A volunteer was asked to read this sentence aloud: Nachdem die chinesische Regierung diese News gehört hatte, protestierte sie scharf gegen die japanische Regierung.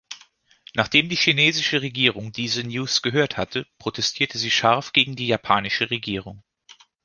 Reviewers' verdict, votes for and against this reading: rejected, 1, 2